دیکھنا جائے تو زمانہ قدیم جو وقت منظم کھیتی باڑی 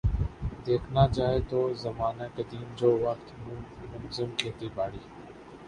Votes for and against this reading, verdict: 2, 3, rejected